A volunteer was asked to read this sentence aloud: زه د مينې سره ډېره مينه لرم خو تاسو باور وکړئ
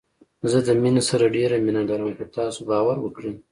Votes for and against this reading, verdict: 2, 0, accepted